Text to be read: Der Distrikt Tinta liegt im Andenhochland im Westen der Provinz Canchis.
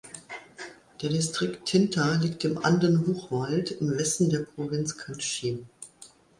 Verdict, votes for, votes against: rejected, 0, 2